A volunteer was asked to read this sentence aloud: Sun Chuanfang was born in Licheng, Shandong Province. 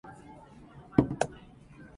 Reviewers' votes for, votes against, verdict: 0, 2, rejected